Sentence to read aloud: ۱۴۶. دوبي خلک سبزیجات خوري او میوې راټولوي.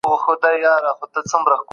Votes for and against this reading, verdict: 0, 2, rejected